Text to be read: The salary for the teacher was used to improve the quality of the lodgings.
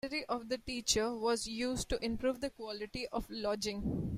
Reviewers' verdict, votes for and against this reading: rejected, 1, 2